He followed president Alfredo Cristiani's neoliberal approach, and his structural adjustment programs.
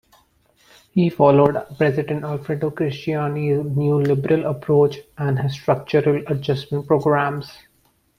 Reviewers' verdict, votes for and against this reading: accepted, 2, 0